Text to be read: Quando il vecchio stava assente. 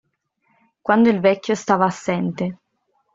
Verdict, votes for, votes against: accepted, 2, 0